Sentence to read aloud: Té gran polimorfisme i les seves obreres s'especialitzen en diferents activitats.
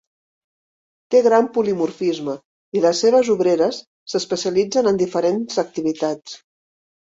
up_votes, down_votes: 4, 0